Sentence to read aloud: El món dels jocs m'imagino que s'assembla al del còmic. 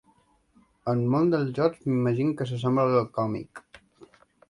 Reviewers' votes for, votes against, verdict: 0, 3, rejected